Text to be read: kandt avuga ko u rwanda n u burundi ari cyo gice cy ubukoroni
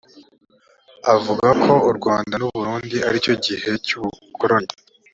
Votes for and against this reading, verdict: 0, 2, rejected